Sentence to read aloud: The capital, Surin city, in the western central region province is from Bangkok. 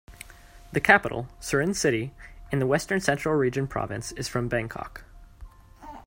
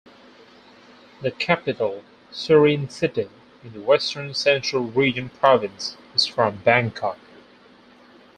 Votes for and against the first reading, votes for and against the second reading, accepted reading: 2, 0, 2, 4, first